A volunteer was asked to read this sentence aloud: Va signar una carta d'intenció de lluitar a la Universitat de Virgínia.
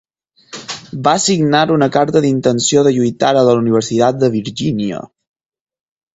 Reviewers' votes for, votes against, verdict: 0, 4, rejected